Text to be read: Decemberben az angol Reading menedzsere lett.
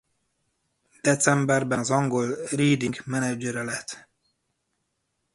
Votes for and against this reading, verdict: 0, 2, rejected